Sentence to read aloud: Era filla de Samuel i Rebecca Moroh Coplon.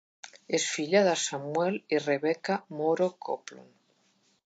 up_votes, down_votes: 0, 2